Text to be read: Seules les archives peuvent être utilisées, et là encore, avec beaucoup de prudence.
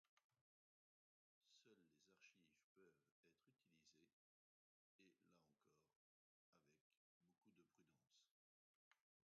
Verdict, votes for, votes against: rejected, 0, 2